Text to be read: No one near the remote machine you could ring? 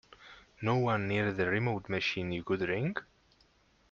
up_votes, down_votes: 2, 0